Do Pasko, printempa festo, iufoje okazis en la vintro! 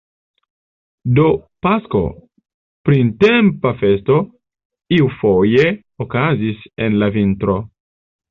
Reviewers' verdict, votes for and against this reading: accepted, 2, 0